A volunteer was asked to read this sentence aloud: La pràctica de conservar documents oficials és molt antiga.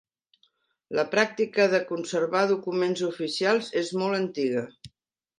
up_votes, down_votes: 3, 0